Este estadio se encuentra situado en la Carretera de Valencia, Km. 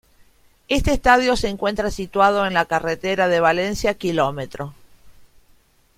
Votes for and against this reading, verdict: 2, 0, accepted